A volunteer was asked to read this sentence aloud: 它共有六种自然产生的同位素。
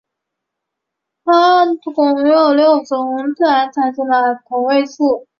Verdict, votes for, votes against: rejected, 0, 2